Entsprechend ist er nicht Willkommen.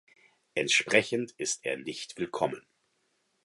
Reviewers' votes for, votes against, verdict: 4, 0, accepted